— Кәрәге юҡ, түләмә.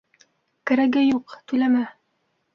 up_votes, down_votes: 3, 0